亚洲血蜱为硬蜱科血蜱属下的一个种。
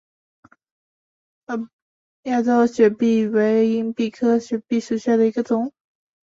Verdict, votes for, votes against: rejected, 0, 2